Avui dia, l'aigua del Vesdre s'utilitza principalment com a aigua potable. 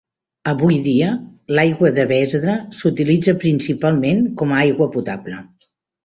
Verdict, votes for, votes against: rejected, 1, 2